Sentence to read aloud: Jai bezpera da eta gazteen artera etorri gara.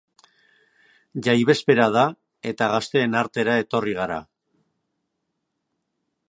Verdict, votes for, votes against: accepted, 2, 0